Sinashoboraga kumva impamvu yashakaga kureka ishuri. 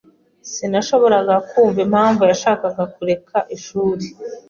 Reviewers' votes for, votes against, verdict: 2, 0, accepted